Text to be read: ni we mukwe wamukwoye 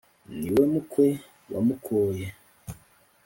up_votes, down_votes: 2, 3